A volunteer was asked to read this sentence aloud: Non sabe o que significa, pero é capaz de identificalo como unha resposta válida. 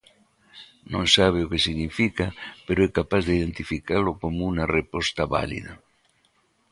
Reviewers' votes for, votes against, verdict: 0, 2, rejected